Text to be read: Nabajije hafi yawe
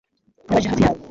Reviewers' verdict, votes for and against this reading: rejected, 0, 2